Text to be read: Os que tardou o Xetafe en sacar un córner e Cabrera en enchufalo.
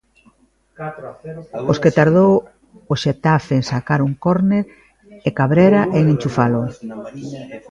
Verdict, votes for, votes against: rejected, 1, 2